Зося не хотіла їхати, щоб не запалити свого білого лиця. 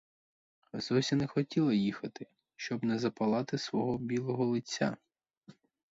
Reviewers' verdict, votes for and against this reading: rejected, 2, 2